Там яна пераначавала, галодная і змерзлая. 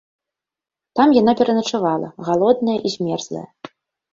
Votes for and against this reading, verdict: 2, 0, accepted